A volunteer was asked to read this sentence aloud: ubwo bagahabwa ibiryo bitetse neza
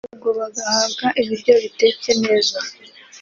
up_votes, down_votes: 2, 0